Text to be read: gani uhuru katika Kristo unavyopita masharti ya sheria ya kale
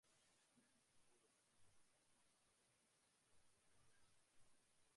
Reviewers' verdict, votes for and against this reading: rejected, 0, 3